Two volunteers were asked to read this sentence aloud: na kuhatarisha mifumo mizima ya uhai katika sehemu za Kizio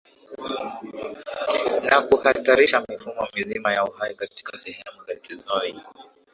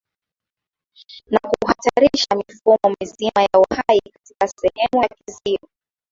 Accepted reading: second